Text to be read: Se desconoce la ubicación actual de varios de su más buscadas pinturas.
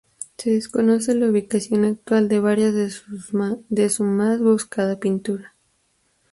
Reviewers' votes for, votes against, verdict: 2, 4, rejected